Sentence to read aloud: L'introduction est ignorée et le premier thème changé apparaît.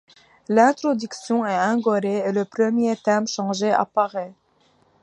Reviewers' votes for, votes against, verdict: 1, 2, rejected